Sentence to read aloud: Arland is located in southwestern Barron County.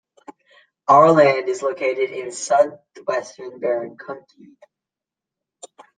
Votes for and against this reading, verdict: 0, 2, rejected